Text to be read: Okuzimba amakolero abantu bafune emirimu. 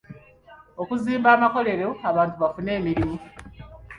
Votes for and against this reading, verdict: 2, 0, accepted